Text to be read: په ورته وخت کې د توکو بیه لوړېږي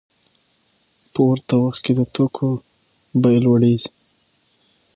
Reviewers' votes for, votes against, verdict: 6, 0, accepted